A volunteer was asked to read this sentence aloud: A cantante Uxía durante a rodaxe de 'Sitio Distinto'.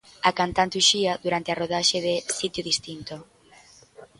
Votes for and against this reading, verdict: 2, 0, accepted